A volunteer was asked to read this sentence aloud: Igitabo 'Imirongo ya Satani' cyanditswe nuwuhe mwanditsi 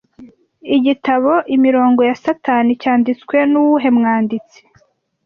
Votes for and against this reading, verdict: 2, 0, accepted